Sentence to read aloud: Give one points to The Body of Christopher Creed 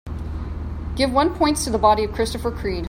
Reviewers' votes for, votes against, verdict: 3, 0, accepted